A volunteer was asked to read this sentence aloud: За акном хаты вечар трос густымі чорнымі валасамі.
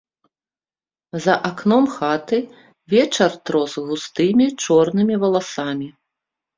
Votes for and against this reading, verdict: 4, 1, accepted